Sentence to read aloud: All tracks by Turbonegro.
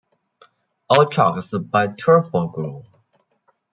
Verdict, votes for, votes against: rejected, 0, 2